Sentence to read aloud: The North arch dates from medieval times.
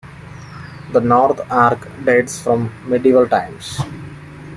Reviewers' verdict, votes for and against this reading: accepted, 2, 1